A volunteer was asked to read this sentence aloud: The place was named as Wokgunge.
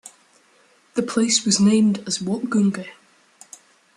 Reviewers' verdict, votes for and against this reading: accepted, 2, 0